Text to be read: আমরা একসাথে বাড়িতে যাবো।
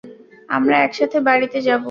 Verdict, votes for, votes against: accepted, 2, 0